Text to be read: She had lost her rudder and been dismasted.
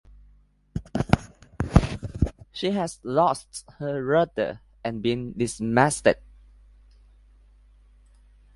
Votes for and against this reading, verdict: 2, 0, accepted